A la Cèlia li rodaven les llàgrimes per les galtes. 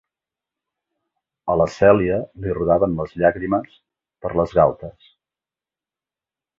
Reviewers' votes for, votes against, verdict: 3, 0, accepted